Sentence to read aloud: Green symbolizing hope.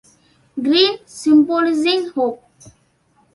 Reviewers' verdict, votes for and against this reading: accepted, 2, 1